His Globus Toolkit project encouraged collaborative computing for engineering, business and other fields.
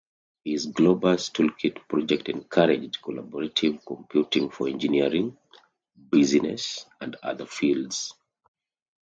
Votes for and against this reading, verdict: 2, 0, accepted